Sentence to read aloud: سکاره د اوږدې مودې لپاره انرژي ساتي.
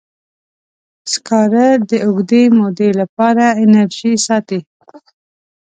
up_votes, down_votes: 2, 0